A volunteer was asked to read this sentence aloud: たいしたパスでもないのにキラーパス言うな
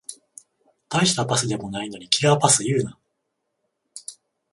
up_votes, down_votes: 14, 0